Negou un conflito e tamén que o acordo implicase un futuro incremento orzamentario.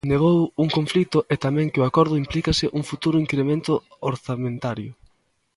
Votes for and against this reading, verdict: 0, 2, rejected